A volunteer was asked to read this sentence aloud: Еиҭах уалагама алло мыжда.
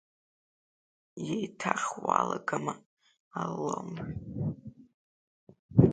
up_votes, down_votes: 1, 2